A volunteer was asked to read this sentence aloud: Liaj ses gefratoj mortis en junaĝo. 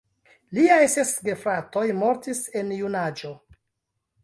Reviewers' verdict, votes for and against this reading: rejected, 0, 2